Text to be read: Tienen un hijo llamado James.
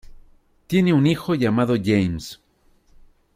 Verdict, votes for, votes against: accepted, 2, 1